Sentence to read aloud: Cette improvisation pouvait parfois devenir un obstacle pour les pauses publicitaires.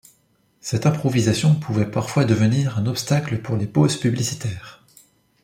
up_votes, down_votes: 2, 0